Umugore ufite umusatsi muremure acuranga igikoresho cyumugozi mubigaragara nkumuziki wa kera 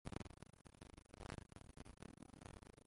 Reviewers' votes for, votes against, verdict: 0, 2, rejected